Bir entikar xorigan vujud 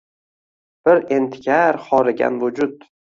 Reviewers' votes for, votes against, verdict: 2, 0, accepted